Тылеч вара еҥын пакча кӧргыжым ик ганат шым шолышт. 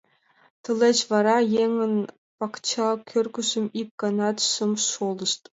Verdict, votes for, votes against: accepted, 2, 1